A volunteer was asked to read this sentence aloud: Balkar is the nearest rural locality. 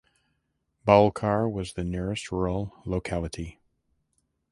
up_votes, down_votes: 0, 2